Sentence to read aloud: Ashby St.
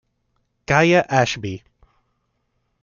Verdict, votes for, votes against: rejected, 0, 2